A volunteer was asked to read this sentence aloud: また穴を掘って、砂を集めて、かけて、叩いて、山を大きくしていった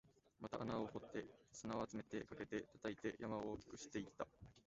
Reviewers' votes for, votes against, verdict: 0, 2, rejected